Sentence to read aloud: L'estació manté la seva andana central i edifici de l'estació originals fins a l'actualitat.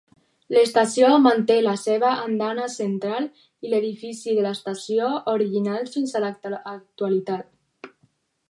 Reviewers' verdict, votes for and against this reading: rejected, 2, 4